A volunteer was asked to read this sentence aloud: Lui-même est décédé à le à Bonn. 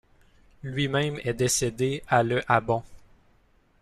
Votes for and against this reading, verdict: 1, 2, rejected